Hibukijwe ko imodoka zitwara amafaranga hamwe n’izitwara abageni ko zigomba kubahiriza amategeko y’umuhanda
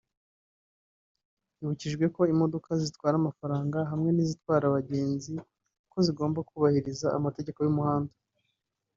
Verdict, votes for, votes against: rejected, 0, 2